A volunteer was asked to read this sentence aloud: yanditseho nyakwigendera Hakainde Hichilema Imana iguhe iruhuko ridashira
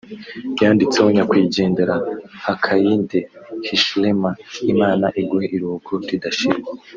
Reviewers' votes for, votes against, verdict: 0, 2, rejected